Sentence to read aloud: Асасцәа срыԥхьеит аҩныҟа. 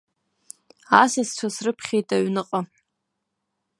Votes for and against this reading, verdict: 2, 0, accepted